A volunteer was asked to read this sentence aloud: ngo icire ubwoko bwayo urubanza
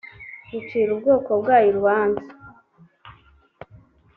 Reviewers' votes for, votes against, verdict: 2, 0, accepted